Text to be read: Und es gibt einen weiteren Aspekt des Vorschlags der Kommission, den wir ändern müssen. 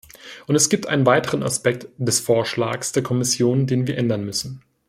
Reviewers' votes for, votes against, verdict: 2, 0, accepted